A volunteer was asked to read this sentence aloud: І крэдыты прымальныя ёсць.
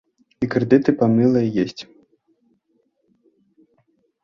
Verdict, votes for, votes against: rejected, 0, 2